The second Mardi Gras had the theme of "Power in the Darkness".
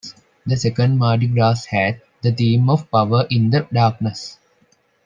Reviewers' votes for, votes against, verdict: 1, 2, rejected